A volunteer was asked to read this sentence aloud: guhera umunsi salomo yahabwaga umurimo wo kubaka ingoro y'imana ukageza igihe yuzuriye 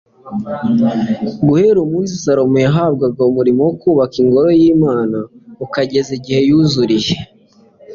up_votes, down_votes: 2, 0